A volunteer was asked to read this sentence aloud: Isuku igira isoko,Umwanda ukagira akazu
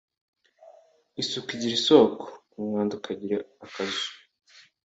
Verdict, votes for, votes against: accepted, 2, 1